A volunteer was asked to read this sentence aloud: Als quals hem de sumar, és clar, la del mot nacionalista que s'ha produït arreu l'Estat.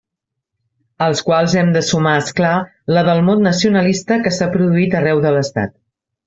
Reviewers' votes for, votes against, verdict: 0, 2, rejected